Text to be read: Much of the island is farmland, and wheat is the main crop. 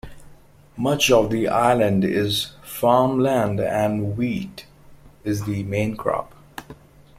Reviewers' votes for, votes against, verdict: 2, 0, accepted